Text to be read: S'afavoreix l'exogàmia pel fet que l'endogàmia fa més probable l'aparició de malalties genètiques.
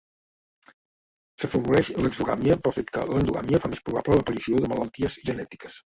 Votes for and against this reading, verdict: 1, 2, rejected